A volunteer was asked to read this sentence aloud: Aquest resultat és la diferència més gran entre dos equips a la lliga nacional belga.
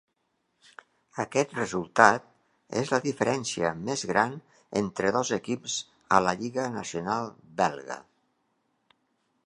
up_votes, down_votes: 3, 0